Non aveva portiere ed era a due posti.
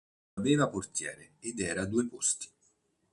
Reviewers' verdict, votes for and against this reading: rejected, 1, 2